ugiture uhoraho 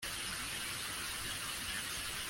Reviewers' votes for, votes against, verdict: 0, 2, rejected